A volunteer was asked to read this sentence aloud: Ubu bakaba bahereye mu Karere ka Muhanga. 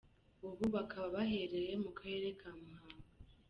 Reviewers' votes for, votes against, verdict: 1, 2, rejected